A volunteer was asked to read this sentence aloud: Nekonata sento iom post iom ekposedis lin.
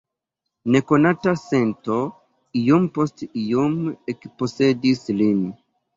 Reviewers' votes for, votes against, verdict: 2, 0, accepted